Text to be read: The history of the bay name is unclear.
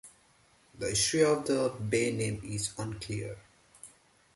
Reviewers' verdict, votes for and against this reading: accepted, 2, 1